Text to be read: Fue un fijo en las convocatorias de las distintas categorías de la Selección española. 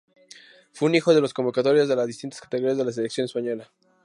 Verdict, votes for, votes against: rejected, 4, 4